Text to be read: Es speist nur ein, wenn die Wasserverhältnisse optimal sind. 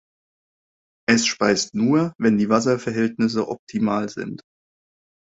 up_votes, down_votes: 0, 2